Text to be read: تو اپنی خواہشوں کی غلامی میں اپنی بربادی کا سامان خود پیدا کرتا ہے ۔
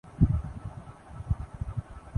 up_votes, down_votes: 0, 2